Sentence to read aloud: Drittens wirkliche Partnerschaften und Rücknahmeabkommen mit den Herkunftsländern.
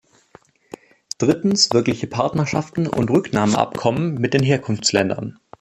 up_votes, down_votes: 2, 0